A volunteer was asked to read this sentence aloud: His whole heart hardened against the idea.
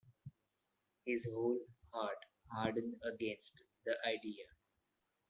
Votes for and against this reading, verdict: 2, 1, accepted